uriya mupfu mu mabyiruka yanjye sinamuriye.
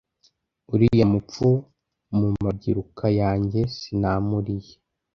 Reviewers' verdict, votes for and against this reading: accepted, 2, 0